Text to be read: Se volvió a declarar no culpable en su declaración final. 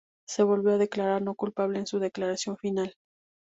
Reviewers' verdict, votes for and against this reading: accepted, 2, 0